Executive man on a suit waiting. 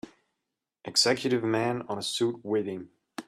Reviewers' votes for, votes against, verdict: 3, 0, accepted